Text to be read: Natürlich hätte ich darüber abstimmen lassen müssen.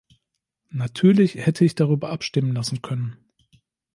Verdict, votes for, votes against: rejected, 1, 2